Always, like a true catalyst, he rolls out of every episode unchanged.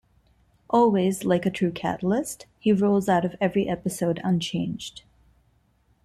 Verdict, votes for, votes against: accepted, 2, 1